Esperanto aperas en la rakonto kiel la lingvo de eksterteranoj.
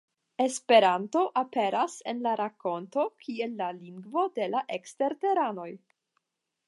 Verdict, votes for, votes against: rejected, 5, 5